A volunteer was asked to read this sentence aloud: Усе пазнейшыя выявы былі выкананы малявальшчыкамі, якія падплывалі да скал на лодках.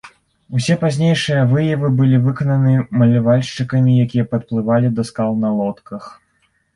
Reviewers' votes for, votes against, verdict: 0, 2, rejected